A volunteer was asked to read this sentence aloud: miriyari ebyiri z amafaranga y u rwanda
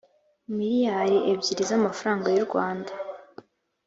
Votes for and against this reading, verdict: 2, 1, accepted